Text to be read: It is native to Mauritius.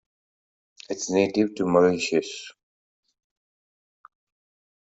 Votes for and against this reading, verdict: 2, 1, accepted